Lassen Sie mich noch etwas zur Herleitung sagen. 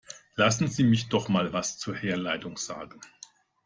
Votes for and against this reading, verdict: 1, 2, rejected